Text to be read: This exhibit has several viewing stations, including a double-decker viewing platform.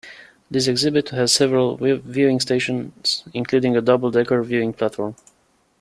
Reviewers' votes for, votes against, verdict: 0, 2, rejected